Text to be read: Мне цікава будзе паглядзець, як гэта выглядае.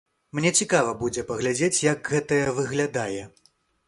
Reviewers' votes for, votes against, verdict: 0, 2, rejected